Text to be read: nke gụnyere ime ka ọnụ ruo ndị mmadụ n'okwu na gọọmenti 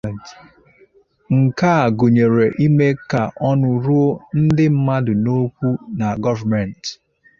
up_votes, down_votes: 0, 2